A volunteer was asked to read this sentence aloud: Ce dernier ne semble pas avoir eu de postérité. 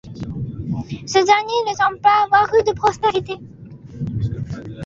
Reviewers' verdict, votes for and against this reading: rejected, 1, 2